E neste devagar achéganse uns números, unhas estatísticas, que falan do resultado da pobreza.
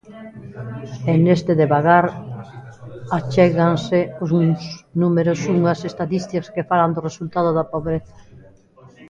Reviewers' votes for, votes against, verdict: 0, 2, rejected